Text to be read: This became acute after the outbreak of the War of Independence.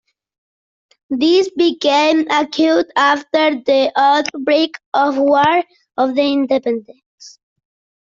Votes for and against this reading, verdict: 1, 2, rejected